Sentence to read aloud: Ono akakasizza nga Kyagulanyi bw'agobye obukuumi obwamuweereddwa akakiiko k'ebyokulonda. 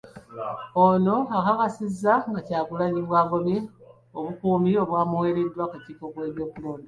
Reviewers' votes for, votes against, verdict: 3, 0, accepted